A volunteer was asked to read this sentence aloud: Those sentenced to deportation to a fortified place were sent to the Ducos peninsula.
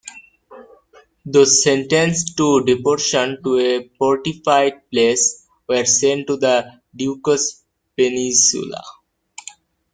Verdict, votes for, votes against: accepted, 2, 1